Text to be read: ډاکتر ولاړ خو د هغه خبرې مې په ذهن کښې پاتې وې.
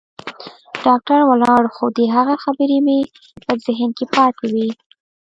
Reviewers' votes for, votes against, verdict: 1, 2, rejected